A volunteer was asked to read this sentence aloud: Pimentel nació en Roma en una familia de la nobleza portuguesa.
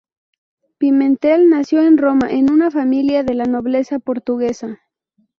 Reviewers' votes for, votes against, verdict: 2, 0, accepted